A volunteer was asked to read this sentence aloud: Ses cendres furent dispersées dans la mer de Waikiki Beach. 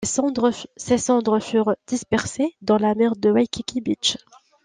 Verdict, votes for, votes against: rejected, 1, 2